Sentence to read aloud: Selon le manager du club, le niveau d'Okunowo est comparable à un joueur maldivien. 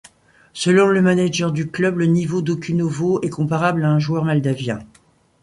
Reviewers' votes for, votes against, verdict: 0, 2, rejected